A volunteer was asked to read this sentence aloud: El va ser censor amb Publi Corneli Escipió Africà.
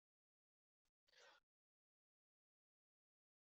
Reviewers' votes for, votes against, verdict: 0, 4, rejected